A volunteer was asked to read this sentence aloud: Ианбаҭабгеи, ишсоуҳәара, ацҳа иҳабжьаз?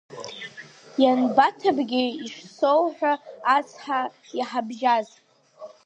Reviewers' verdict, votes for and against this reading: rejected, 0, 2